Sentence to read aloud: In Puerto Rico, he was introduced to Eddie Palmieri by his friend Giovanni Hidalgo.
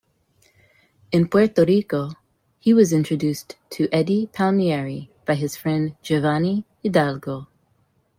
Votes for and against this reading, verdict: 2, 0, accepted